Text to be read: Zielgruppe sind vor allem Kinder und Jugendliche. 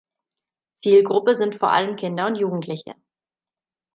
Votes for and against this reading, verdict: 2, 0, accepted